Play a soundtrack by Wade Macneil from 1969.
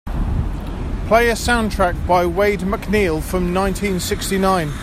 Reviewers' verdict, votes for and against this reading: rejected, 0, 2